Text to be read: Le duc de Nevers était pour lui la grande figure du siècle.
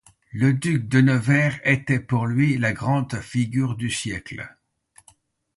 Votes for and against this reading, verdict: 2, 1, accepted